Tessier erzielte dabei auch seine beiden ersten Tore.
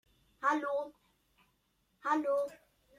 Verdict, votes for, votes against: rejected, 1, 2